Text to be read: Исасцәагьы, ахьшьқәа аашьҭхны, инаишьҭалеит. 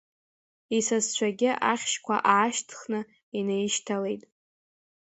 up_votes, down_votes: 1, 2